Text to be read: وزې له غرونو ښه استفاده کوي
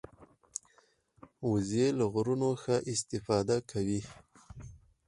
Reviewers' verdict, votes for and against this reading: rejected, 0, 4